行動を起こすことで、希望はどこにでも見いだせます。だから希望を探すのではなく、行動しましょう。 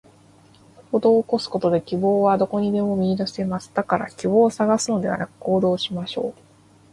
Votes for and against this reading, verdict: 1, 2, rejected